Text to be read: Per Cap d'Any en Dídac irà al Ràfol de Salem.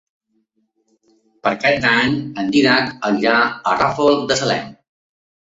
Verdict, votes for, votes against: rejected, 0, 2